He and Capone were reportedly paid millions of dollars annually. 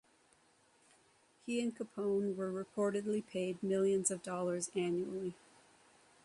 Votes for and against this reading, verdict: 0, 3, rejected